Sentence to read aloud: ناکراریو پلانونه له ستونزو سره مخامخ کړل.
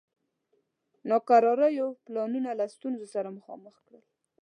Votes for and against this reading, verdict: 2, 0, accepted